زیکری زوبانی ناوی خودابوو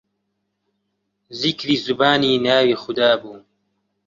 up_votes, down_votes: 1, 2